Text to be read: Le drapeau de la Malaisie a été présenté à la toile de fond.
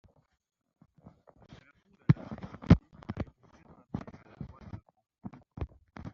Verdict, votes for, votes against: rejected, 0, 2